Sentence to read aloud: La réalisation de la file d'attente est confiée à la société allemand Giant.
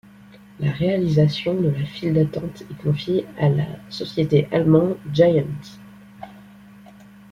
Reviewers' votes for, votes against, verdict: 2, 0, accepted